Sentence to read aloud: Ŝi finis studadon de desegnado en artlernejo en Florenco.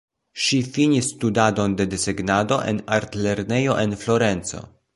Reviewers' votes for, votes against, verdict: 2, 0, accepted